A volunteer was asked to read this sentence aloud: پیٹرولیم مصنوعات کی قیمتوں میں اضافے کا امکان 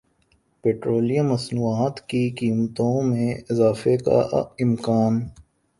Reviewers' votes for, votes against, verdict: 2, 1, accepted